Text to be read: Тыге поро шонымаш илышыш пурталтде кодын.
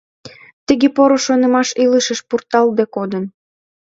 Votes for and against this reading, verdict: 2, 0, accepted